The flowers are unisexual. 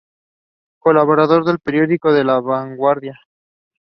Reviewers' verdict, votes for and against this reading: rejected, 0, 2